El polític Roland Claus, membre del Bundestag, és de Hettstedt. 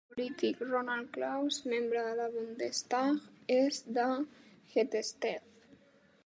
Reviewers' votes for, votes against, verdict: 0, 2, rejected